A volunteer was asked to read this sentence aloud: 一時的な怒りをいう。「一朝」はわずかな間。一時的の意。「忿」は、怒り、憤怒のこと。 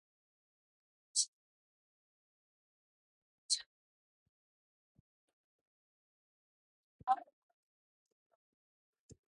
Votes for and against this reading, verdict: 0, 2, rejected